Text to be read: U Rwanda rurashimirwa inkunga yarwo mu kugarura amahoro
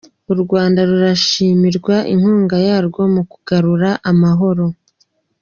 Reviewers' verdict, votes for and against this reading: accepted, 2, 1